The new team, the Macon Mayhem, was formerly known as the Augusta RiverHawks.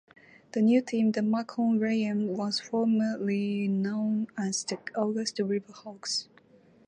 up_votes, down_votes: 0, 4